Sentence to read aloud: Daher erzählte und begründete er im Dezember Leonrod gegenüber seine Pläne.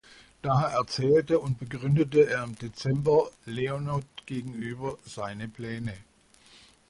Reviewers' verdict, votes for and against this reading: rejected, 1, 2